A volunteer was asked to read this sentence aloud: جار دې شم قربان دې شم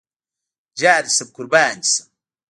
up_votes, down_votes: 1, 2